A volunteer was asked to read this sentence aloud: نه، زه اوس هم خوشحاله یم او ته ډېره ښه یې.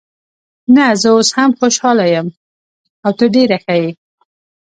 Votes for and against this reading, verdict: 2, 0, accepted